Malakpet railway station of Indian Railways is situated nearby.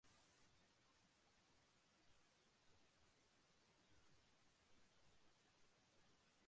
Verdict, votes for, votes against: rejected, 0, 2